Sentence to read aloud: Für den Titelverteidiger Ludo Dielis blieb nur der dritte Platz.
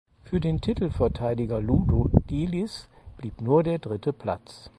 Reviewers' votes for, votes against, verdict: 0, 4, rejected